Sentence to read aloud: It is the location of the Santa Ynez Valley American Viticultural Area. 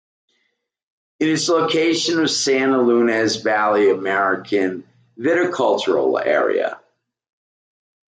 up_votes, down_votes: 2, 1